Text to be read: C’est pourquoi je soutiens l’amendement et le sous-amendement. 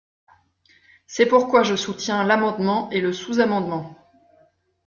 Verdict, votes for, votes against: accepted, 3, 0